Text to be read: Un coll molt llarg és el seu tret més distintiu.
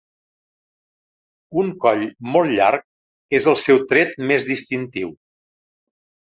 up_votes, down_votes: 5, 0